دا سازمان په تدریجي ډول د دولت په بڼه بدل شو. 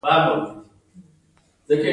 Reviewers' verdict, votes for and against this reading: rejected, 0, 2